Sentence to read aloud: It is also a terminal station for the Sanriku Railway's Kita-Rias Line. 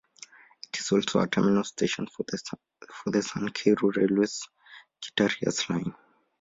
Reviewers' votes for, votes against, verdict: 1, 2, rejected